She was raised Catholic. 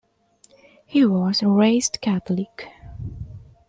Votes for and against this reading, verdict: 0, 2, rejected